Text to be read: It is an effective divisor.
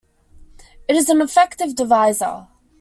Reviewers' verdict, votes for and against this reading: accepted, 2, 0